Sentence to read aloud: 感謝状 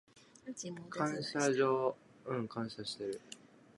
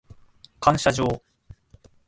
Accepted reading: second